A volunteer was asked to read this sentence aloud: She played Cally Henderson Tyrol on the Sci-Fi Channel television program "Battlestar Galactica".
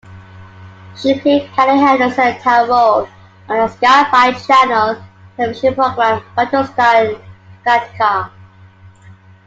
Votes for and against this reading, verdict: 0, 2, rejected